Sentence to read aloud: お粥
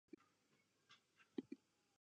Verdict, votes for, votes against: rejected, 1, 2